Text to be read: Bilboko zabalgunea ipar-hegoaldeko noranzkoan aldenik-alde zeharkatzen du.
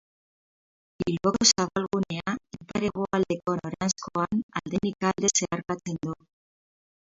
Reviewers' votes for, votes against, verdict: 0, 6, rejected